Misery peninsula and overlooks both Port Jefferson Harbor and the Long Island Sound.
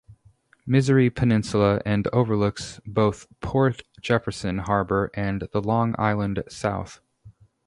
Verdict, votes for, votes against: rejected, 0, 2